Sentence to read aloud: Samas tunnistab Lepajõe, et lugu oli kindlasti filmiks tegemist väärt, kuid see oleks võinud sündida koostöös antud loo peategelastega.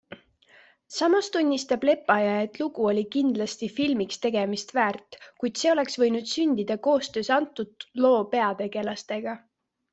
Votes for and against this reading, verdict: 2, 0, accepted